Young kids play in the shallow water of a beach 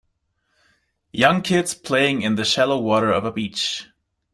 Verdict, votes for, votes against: rejected, 0, 2